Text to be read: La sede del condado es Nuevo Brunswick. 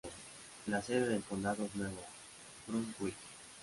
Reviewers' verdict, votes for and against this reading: rejected, 1, 2